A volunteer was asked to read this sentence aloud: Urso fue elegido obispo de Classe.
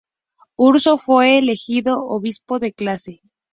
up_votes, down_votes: 2, 0